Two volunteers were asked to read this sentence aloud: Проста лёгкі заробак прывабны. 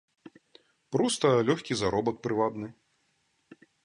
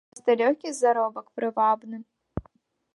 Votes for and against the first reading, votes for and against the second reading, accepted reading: 2, 0, 0, 2, first